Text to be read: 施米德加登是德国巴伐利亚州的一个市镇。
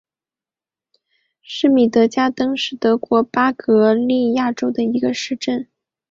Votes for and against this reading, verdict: 2, 0, accepted